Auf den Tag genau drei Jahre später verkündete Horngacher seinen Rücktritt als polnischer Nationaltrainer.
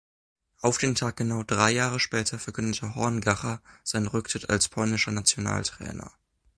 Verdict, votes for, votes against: accepted, 2, 0